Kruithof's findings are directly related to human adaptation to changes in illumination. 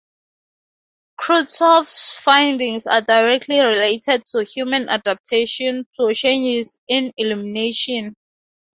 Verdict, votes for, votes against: accepted, 8, 2